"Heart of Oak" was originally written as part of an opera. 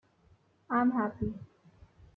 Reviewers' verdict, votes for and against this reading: rejected, 0, 2